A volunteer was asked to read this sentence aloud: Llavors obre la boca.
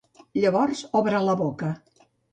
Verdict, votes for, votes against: accepted, 2, 0